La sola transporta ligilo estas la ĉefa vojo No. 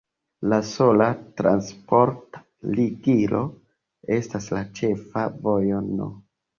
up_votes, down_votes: 2, 1